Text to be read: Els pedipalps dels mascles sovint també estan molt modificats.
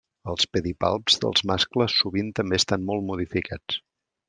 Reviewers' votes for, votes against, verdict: 2, 0, accepted